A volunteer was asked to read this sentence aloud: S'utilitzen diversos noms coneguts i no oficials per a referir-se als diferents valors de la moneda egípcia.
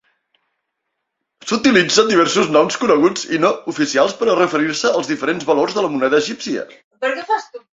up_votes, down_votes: 0, 2